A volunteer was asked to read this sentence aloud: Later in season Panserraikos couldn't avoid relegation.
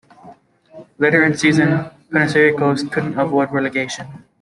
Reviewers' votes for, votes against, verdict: 0, 2, rejected